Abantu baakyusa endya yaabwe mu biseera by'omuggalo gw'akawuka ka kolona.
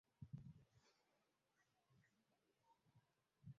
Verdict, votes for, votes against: rejected, 0, 2